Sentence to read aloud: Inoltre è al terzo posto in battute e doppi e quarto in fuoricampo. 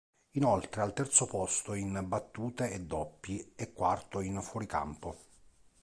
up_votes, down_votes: 1, 2